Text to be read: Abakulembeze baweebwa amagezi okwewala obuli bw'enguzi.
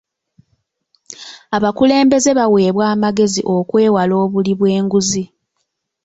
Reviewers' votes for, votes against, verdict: 2, 0, accepted